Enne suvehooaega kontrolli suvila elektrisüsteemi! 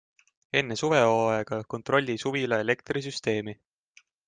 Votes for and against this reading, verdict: 2, 0, accepted